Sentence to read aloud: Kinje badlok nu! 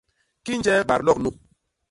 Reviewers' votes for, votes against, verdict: 2, 0, accepted